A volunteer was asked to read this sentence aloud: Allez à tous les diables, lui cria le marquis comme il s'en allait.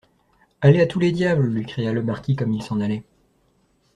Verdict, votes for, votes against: accepted, 2, 0